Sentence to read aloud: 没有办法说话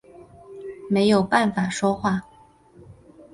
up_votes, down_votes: 3, 0